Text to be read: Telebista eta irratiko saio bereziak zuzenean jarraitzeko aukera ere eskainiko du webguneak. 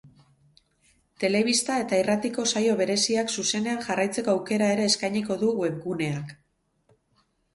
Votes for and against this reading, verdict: 2, 0, accepted